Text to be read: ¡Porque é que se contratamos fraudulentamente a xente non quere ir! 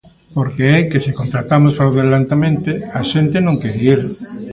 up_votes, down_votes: 1, 2